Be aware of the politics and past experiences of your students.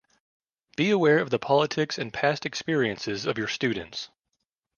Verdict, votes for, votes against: accepted, 2, 0